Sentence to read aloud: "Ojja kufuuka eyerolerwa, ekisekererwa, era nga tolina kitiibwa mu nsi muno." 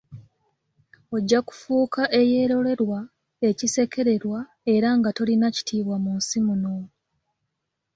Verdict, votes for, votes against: accepted, 2, 0